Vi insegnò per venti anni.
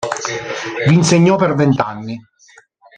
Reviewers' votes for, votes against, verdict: 2, 1, accepted